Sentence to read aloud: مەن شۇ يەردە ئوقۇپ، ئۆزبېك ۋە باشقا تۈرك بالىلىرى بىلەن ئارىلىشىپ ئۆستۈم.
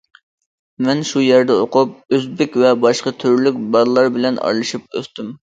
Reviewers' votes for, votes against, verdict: 0, 2, rejected